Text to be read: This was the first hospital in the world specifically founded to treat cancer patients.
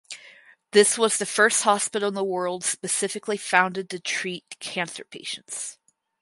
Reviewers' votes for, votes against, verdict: 4, 0, accepted